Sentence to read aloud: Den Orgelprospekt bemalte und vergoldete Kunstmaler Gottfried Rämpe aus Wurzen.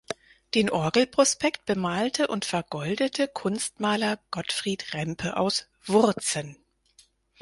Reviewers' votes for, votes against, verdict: 4, 0, accepted